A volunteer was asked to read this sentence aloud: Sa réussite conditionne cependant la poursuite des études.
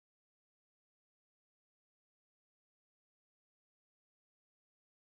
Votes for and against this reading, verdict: 0, 2, rejected